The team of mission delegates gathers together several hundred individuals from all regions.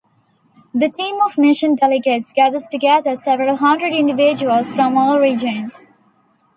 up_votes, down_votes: 2, 0